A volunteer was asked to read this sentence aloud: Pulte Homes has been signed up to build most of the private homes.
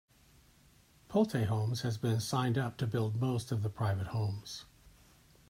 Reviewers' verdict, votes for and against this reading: accepted, 2, 0